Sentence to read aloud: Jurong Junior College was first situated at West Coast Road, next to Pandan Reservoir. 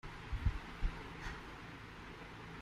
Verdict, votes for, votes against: rejected, 0, 2